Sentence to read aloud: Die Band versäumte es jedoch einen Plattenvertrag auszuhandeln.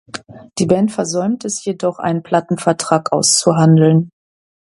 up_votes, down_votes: 2, 0